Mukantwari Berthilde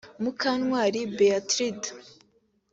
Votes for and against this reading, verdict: 3, 1, accepted